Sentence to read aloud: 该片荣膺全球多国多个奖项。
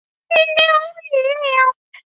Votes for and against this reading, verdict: 0, 2, rejected